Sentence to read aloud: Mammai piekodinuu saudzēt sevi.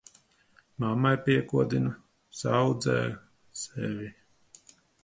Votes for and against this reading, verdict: 0, 2, rejected